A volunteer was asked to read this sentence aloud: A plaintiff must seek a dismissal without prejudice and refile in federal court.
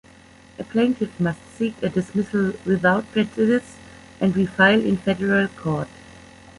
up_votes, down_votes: 0, 2